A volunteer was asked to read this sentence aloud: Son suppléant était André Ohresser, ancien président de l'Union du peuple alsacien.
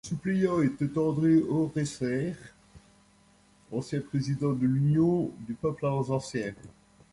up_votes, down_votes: 1, 2